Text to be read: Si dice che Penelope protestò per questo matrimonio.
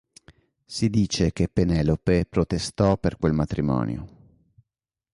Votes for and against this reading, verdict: 1, 3, rejected